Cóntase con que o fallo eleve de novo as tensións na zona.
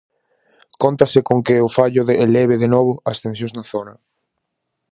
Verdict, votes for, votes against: rejected, 0, 4